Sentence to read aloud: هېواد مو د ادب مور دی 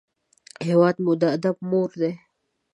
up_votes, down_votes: 2, 0